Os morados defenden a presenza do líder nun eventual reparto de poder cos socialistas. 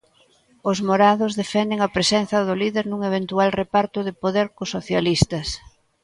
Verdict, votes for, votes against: accepted, 2, 0